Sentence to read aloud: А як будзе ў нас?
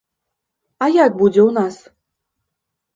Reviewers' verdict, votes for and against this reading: accepted, 3, 0